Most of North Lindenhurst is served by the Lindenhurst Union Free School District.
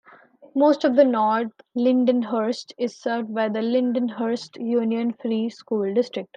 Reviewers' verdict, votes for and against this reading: rejected, 0, 2